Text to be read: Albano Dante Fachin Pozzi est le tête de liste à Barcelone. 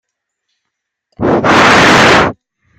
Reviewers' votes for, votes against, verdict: 0, 2, rejected